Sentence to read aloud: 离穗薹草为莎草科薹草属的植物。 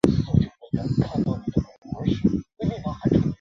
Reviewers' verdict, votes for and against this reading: rejected, 1, 2